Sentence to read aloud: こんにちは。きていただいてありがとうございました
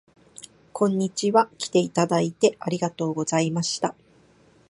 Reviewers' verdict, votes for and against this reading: accepted, 2, 0